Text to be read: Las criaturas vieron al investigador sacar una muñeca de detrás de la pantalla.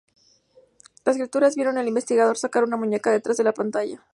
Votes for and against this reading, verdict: 2, 0, accepted